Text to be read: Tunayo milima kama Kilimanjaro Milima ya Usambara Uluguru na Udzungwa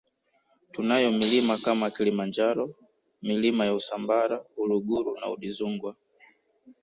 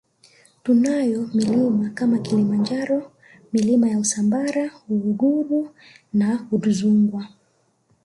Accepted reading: first